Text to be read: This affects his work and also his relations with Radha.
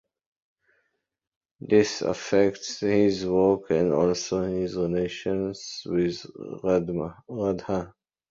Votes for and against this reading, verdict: 1, 2, rejected